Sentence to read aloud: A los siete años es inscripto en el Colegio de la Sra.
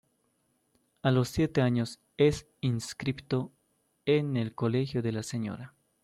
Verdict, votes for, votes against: accepted, 2, 1